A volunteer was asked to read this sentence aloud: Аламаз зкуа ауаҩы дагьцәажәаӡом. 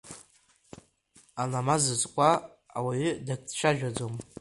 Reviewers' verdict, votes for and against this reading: rejected, 1, 2